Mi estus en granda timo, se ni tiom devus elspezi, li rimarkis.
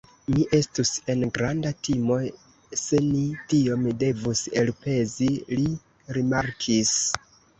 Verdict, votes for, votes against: rejected, 0, 2